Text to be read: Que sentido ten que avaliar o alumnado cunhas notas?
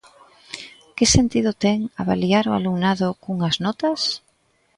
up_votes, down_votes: 1, 2